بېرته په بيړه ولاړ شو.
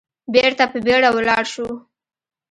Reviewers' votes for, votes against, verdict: 2, 0, accepted